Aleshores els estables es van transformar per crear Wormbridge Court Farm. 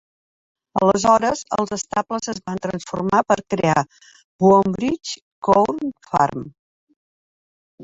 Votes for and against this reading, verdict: 2, 1, accepted